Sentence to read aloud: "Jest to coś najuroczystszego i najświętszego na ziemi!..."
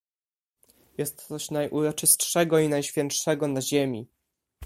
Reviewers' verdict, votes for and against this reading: rejected, 1, 2